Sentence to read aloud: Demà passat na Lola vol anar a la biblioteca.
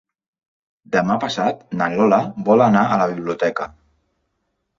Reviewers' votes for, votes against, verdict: 3, 0, accepted